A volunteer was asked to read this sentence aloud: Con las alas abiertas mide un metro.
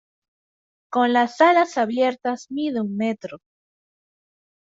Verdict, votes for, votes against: rejected, 1, 2